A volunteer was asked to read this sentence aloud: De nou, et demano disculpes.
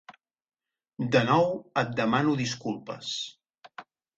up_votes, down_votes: 4, 0